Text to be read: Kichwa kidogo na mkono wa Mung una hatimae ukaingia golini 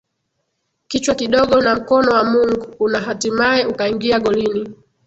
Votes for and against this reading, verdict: 0, 2, rejected